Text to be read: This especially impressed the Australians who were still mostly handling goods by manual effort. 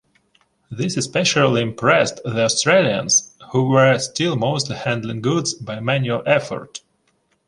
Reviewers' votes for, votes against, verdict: 2, 0, accepted